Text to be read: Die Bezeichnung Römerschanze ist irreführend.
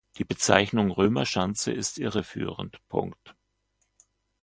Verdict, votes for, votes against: accepted, 2, 1